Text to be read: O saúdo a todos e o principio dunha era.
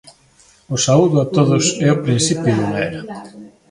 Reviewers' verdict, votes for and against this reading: rejected, 1, 2